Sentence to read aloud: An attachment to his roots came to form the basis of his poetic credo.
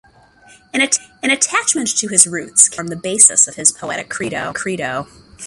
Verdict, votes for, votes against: rejected, 1, 2